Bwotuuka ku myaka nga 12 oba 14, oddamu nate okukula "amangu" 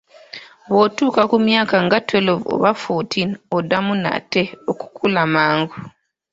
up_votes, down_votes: 0, 2